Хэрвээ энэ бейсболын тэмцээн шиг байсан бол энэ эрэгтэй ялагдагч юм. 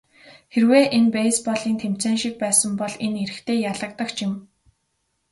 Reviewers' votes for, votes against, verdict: 2, 0, accepted